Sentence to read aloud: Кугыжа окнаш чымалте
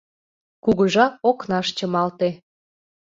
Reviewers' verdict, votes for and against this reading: accepted, 2, 0